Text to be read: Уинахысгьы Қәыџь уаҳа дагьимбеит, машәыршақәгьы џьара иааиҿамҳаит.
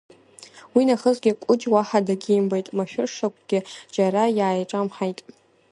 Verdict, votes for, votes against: accepted, 2, 0